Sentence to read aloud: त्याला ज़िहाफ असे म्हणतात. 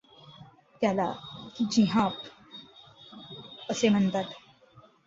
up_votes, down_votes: 2, 0